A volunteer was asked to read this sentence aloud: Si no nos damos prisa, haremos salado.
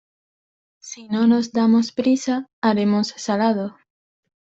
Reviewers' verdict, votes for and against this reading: accepted, 2, 0